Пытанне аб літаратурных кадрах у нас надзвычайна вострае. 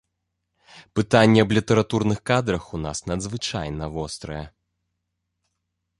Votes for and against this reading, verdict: 2, 0, accepted